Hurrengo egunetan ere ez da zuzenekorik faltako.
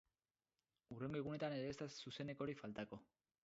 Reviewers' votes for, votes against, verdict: 0, 6, rejected